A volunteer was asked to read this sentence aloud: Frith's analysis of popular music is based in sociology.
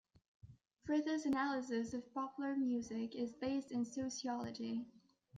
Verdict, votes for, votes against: rejected, 1, 2